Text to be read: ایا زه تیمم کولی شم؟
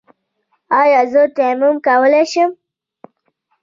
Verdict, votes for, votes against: rejected, 1, 2